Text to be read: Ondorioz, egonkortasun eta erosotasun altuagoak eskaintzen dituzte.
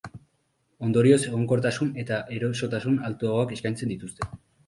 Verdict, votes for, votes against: rejected, 0, 2